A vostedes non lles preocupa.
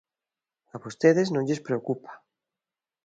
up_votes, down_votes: 2, 0